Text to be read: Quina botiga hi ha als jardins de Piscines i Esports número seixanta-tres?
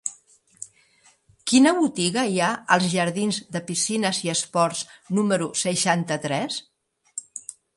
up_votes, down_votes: 3, 0